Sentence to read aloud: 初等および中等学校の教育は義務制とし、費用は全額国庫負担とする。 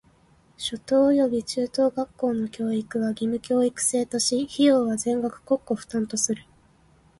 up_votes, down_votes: 2, 1